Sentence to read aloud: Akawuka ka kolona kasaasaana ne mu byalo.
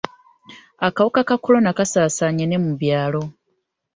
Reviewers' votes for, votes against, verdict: 2, 0, accepted